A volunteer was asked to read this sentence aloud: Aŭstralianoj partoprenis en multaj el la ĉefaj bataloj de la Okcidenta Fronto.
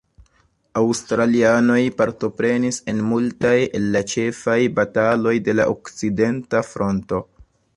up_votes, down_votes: 1, 2